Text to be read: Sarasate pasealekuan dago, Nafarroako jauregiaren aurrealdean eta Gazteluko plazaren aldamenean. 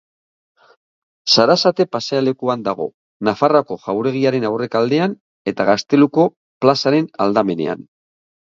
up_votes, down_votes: 0, 2